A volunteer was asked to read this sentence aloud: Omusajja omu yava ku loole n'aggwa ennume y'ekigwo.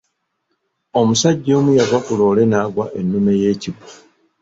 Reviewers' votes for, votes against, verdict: 2, 1, accepted